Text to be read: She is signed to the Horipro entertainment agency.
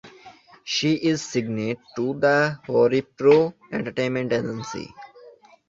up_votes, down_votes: 2, 1